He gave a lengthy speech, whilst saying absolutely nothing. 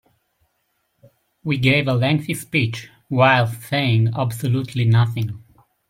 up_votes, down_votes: 0, 2